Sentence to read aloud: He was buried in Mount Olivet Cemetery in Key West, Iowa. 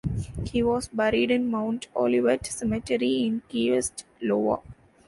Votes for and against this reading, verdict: 0, 2, rejected